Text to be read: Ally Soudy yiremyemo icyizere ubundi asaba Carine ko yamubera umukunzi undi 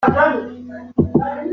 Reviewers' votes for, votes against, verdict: 0, 2, rejected